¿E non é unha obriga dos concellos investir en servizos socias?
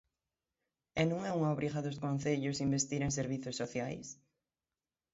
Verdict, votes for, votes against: accepted, 3, 0